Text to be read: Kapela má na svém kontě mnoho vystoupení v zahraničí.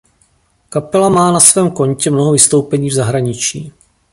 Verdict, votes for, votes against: accepted, 2, 0